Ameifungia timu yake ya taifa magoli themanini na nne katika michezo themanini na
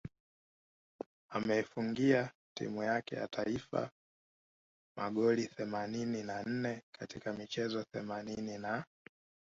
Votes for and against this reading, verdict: 2, 1, accepted